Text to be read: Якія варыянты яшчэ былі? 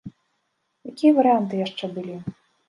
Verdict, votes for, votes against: accepted, 2, 0